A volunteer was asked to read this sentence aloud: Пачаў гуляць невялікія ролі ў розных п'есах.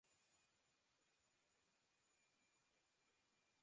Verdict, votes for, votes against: rejected, 0, 2